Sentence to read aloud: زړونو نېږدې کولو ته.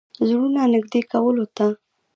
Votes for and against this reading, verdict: 0, 2, rejected